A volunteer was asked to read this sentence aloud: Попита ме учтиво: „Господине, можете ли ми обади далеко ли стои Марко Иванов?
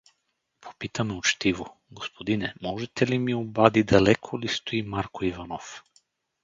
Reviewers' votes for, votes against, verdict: 2, 2, rejected